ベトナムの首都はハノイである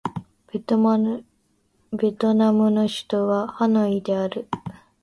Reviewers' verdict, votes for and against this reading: rejected, 0, 2